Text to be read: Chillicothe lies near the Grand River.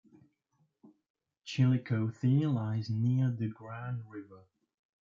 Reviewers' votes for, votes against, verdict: 2, 1, accepted